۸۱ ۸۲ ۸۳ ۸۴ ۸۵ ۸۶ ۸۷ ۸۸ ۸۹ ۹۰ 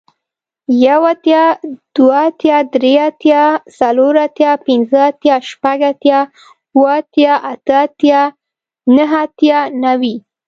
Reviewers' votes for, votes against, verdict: 0, 2, rejected